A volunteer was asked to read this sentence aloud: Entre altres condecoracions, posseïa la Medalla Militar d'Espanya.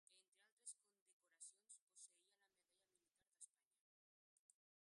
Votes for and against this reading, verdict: 0, 2, rejected